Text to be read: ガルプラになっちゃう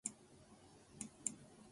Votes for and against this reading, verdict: 0, 2, rejected